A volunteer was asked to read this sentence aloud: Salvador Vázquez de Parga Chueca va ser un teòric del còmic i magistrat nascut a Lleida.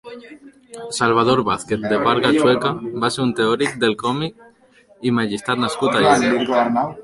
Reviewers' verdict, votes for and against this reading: rejected, 0, 3